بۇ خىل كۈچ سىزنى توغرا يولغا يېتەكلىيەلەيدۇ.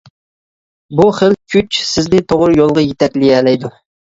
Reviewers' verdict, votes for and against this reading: accepted, 2, 0